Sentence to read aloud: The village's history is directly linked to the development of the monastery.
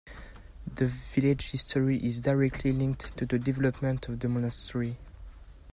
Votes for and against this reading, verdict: 0, 2, rejected